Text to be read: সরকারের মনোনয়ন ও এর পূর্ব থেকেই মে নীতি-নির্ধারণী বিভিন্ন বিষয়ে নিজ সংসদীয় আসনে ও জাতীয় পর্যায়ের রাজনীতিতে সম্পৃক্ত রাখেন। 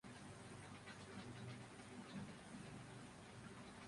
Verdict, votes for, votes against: rejected, 0, 2